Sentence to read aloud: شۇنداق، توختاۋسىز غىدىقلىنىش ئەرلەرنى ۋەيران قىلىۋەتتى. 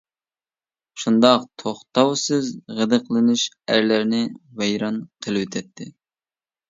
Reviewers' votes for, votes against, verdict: 2, 0, accepted